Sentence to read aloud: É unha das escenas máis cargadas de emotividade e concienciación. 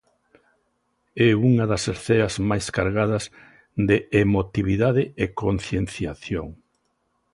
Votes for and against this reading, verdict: 0, 2, rejected